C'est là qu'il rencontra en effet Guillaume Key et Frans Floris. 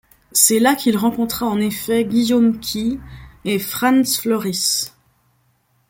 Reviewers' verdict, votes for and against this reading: accepted, 2, 0